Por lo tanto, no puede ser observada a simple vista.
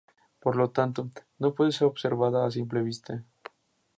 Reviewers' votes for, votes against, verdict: 4, 0, accepted